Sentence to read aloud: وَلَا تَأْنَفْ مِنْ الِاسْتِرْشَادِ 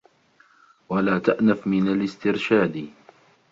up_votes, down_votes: 2, 0